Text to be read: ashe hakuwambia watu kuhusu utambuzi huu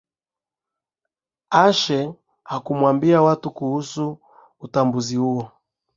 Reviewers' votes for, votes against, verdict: 2, 0, accepted